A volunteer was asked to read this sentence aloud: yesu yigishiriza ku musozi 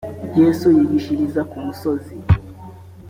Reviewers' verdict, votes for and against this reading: accepted, 2, 0